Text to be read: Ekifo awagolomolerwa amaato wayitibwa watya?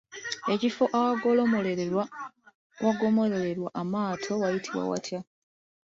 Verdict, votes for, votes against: rejected, 1, 2